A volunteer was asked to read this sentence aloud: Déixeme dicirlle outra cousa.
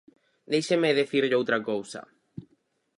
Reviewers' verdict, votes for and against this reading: rejected, 2, 4